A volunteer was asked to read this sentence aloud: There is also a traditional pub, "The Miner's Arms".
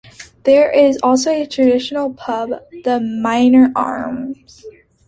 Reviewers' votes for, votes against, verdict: 0, 2, rejected